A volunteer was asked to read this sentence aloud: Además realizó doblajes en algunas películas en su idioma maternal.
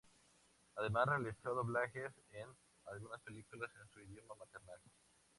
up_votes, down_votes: 2, 0